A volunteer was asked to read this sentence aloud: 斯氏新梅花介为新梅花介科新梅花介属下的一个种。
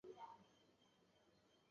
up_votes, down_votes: 1, 3